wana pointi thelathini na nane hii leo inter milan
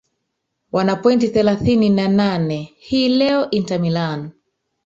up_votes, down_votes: 1, 2